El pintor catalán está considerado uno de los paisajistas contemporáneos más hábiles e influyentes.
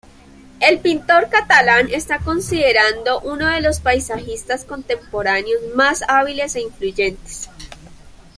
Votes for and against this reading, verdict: 1, 3, rejected